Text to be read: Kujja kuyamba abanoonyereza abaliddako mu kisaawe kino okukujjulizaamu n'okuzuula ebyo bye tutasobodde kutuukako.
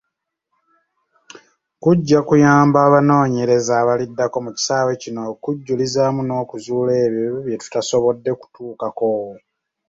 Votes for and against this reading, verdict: 2, 1, accepted